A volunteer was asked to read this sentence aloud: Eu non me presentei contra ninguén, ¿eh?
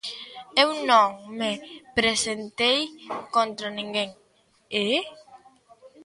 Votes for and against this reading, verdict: 1, 2, rejected